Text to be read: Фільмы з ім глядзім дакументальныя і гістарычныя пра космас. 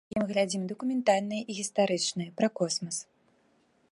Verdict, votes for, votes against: rejected, 0, 2